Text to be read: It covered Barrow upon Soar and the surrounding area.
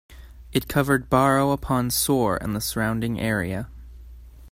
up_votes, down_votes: 2, 0